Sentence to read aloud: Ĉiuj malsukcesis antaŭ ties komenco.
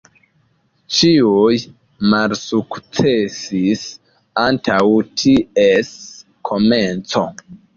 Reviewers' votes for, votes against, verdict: 2, 1, accepted